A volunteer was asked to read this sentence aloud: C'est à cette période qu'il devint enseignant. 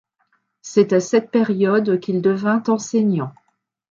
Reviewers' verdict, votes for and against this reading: accepted, 2, 0